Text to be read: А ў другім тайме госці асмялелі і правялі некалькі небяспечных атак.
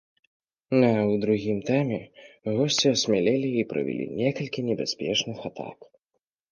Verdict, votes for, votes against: rejected, 1, 2